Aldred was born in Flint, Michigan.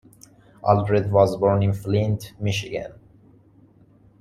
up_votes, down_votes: 2, 0